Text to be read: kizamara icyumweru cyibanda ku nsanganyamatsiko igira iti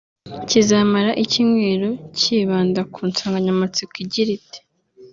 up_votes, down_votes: 2, 0